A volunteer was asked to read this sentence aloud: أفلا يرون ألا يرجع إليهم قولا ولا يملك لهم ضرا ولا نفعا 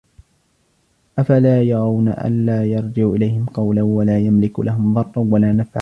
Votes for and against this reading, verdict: 2, 1, accepted